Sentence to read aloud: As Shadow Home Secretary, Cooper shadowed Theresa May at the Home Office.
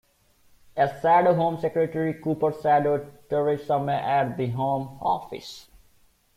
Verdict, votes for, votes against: rejected, 1, 2